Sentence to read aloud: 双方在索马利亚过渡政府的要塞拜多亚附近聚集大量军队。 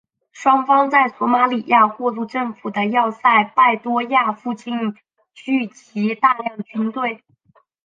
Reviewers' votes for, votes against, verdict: 3, 1, accepted